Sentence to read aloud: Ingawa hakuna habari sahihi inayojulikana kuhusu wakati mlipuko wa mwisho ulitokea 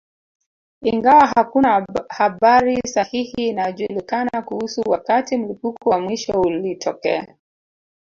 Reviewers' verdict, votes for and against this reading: rejected, 2, 3